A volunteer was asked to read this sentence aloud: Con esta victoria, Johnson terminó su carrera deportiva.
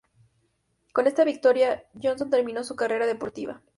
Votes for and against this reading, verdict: 4, 0, accepted